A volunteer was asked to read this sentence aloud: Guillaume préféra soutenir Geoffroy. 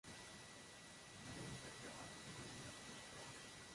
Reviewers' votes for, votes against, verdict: 0, 2, rejected